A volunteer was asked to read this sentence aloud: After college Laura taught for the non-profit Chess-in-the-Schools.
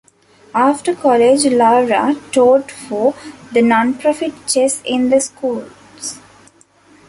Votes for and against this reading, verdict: 2, 0, accepted